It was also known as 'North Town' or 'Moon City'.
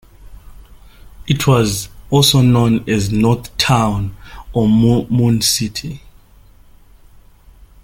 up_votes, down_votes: 1, 3